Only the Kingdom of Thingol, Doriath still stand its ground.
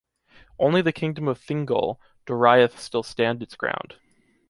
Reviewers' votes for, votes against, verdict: 2, 0, accepted